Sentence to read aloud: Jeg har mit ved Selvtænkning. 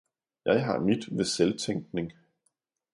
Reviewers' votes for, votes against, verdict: 2, 0, accepted